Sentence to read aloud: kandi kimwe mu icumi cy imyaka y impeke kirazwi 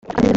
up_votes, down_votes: 1, 2